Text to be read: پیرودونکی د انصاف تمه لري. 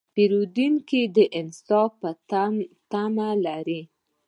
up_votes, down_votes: 2, 0